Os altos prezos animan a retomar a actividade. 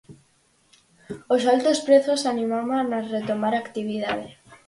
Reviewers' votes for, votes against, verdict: 0, 4, rejected